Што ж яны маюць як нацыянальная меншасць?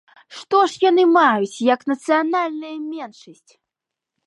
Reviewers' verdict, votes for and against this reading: accepted, 2, 1